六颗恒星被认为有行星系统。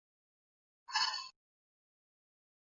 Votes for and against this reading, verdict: 1, 2, rejected